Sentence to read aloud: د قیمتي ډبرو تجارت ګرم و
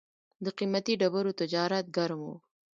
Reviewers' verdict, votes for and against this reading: rejected, 1, 2